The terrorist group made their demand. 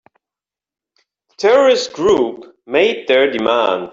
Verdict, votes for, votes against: rejected, 0, 3